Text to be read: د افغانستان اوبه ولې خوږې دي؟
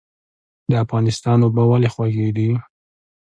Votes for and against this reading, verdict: 2, 0, accepted